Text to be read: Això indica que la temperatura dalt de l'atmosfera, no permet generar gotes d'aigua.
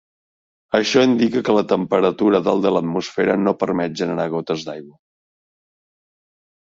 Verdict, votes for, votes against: accepted, 3, 0